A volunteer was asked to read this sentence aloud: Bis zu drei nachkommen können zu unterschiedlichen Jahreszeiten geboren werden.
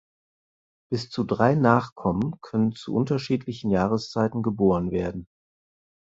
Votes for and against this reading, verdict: 4, 0, accepted